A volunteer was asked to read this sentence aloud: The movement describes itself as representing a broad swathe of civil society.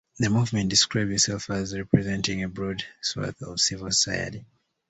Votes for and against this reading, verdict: 2, 1, accepted